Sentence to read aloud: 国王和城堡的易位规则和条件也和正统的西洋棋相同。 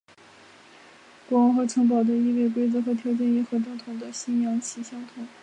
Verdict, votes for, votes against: accepted, 6, 3